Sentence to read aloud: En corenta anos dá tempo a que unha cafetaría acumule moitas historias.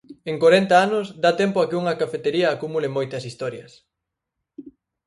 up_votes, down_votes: 0, 4